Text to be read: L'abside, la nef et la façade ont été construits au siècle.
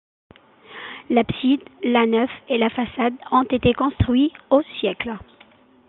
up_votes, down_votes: 2, 2